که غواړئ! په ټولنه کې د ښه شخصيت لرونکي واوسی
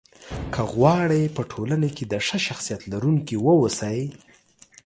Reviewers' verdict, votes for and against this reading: rejected, 1, 2